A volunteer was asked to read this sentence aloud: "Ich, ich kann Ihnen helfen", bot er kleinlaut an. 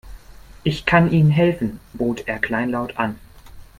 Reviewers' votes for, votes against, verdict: 0, 2, rejected